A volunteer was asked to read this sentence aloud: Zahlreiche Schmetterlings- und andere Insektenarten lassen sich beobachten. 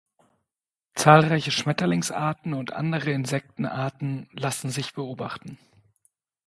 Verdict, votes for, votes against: rejected, 1, 3